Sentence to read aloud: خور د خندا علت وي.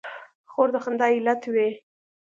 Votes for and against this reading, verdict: 2, 0, accepted